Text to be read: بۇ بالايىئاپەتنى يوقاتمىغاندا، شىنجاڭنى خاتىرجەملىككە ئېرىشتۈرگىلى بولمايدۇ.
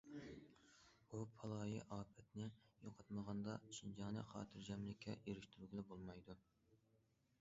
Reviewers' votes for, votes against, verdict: 2, 0, accepted